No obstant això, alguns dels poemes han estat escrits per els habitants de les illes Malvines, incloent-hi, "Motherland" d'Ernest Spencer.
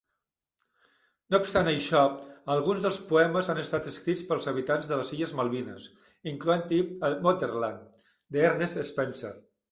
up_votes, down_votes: 1, 2